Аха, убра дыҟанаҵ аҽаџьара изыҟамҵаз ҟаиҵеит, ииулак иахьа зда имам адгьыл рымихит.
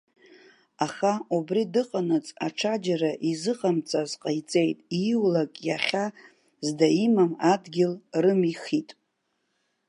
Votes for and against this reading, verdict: 1, 2, rejected